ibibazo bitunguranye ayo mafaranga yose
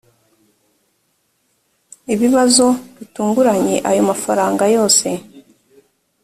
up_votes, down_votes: 3, 0